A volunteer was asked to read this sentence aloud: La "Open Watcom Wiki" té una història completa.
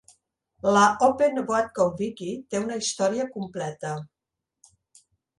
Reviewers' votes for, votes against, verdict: 2, 0, accepted